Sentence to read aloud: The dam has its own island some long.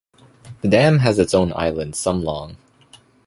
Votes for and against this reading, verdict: 2, 0, accepted